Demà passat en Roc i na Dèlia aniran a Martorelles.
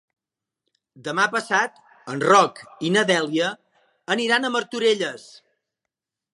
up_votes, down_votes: 2, 0